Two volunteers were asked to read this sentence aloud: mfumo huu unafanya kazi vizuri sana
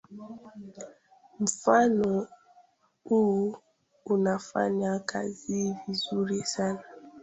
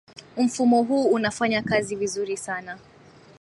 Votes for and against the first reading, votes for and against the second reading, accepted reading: 2, 1, 1, 2, first